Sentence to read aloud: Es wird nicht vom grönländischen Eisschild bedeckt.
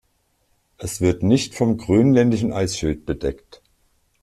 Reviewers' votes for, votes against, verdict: 1, 2, rejected